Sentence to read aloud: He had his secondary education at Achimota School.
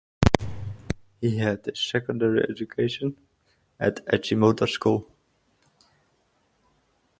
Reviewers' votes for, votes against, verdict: 8, 4, accepted